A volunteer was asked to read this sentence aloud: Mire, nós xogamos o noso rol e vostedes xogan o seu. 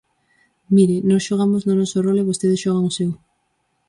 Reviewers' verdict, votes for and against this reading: rejected, 0, 4